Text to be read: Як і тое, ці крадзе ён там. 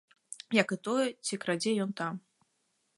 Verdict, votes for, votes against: accepted, 2, 0